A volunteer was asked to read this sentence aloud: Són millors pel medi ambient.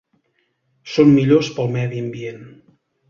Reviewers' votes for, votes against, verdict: 2, 0, accepted